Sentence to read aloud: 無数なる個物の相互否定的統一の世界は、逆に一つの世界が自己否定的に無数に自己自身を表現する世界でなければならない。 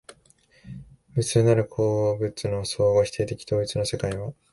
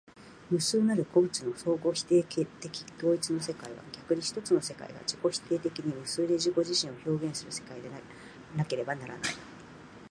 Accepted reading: second